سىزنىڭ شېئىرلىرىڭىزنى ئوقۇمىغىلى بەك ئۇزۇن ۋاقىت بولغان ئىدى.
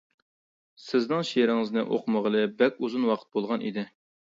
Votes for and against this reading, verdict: 1, 2, rejected